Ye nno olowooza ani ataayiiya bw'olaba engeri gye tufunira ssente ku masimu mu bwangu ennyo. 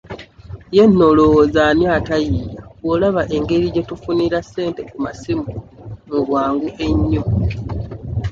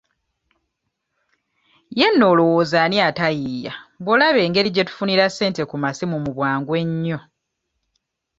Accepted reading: second